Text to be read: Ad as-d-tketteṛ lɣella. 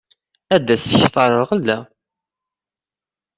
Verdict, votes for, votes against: accepted, 2, 1